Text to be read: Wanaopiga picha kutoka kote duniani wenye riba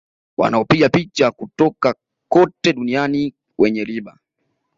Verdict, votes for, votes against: accepted, 2, 1